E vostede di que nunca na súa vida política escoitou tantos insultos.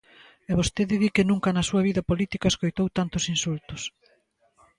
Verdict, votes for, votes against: accepted, 2, 0